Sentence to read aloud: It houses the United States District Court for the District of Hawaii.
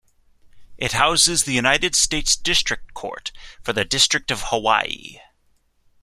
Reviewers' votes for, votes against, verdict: 2, 0, accepted